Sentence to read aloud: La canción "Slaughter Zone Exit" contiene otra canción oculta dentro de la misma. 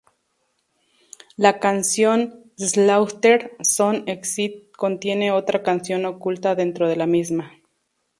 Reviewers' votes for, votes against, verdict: 2, 0, accepted